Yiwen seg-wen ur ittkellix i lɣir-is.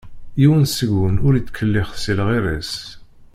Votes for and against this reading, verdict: 1, 2, rejected